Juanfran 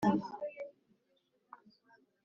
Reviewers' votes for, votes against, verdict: 0, 3, rejected